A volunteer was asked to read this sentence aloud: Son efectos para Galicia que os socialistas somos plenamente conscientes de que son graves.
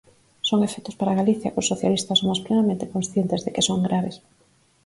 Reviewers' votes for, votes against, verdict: 4, 0, accepted